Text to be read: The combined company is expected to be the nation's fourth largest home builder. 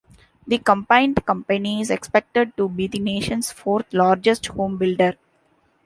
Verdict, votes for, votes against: accepted, 2, 0